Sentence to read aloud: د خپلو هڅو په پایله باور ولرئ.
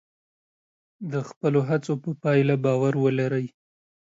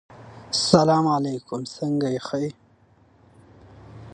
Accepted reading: first